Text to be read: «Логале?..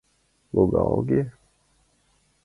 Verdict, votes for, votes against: rejected, 0, 2